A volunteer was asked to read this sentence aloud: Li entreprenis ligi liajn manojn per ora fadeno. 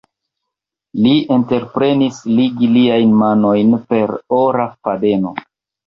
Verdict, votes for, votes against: accepted, 2, 0